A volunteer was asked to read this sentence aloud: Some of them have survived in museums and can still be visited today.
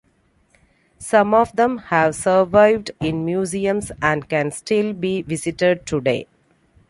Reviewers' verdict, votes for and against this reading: accepted, 2, 0